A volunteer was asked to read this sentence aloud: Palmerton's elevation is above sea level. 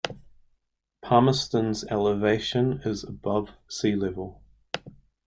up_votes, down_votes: 3, 0